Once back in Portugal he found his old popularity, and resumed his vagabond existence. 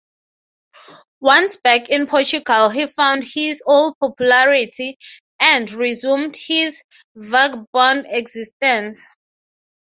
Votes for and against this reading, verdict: 3, 9, rejected